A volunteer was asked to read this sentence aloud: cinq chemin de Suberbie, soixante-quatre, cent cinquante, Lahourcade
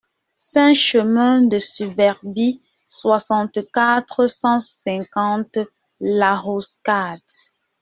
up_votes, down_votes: 0, 2